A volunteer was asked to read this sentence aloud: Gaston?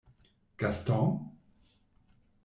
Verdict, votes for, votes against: rejected, 0, 2